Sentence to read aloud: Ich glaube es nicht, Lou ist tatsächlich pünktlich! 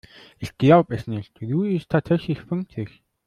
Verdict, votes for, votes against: rejected, 1, 2